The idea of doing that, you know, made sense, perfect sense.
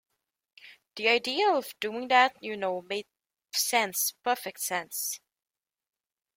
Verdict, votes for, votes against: rejected, 0, 2